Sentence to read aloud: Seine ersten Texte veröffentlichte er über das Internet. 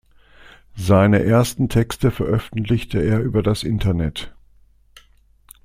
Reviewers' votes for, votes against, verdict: 2, 0, accepted